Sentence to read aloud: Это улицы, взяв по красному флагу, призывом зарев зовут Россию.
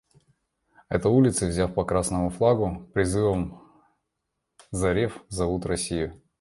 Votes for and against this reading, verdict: 1, 2, rejected